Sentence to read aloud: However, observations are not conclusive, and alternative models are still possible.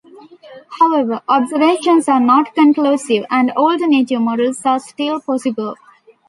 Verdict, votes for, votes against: rejected, 0, 2